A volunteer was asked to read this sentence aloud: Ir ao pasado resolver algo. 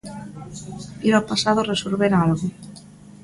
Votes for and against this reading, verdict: 2, 0, accepted